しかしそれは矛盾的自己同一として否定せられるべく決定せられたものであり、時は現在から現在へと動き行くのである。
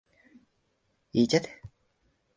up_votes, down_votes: 2, 13